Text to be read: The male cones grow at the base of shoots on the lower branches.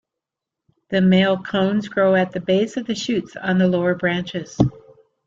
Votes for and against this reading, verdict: 2, 1, accepted